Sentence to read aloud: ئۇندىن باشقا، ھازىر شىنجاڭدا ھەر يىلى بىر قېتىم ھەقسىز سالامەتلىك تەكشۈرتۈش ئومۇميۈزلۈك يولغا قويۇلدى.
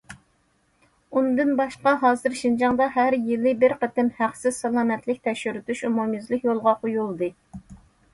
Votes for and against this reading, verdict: 2, 0, accepted